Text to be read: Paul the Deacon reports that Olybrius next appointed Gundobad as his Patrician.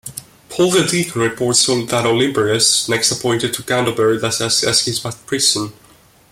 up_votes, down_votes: 0, 2